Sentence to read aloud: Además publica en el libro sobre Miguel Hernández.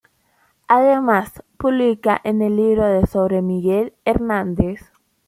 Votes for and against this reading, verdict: 0, 2, rejected